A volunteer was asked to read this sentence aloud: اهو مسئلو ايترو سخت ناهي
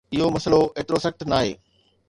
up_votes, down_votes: 2, 0